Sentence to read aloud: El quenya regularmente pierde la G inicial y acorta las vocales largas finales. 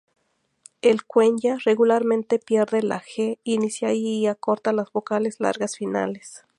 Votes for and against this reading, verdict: 0, 2, rejected